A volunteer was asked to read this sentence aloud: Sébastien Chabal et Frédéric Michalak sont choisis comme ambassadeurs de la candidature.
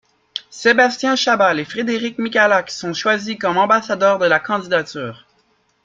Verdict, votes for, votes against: accepted, 2, 0